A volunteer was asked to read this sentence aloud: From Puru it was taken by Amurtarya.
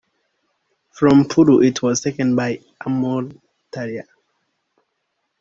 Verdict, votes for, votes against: accepted, 2, 0